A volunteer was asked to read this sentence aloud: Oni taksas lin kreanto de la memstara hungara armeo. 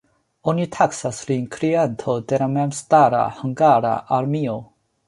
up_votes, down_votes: 2, 1